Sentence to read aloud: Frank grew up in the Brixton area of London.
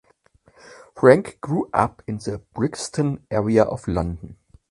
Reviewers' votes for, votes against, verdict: 2, 0, accepted